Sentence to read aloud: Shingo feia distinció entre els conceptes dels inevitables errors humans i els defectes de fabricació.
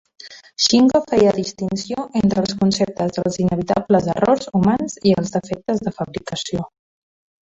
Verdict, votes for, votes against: rejected, 0, 2